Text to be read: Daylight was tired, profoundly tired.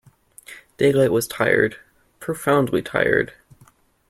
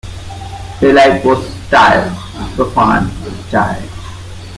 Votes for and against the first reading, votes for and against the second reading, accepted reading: 2, 0, 0, 2, first